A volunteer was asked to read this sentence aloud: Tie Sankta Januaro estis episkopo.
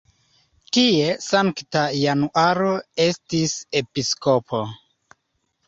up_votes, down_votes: 2, 0